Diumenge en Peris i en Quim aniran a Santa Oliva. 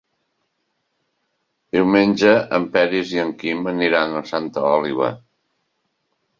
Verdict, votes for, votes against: rejected, 0, 2